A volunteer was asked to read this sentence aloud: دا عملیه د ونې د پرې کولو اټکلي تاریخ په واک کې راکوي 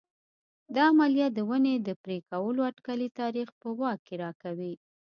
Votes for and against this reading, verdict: 2, 0, accepted